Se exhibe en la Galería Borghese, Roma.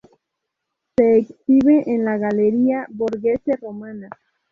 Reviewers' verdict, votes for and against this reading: accepted, 4, 0